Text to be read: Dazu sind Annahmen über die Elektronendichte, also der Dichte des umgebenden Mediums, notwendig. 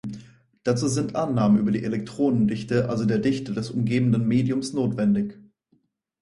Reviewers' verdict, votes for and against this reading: accepted, 4, 0